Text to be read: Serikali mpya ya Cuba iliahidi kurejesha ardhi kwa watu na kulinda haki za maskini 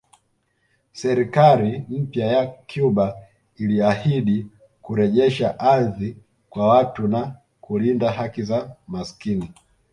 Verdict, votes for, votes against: accepted, 2, 0